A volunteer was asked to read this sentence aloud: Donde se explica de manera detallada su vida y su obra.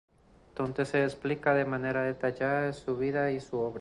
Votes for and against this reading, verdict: 2, 0, accepted